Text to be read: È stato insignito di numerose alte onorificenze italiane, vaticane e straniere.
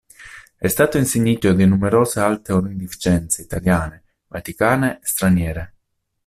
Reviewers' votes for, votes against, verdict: 1, 2, rejected